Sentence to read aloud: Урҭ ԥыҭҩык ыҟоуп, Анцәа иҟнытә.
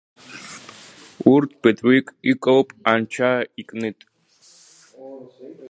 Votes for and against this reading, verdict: 0, 2, rejected